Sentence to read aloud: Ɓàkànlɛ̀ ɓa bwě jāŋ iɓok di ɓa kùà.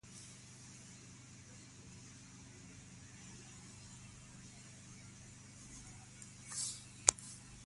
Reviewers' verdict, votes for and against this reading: rejected, 0, 2